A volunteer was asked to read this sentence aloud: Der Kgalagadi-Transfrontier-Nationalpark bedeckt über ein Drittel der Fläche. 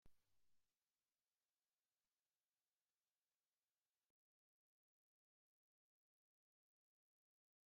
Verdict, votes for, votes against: rejected, 0, 2